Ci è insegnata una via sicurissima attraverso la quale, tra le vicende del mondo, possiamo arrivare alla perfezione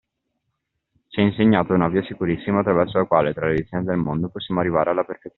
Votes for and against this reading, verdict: 2, 1, accepted